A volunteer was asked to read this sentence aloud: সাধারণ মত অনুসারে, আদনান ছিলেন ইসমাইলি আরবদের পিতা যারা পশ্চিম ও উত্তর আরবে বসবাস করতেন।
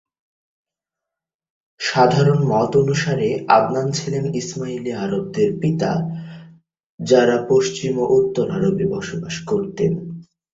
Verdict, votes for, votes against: accepted, 2, 0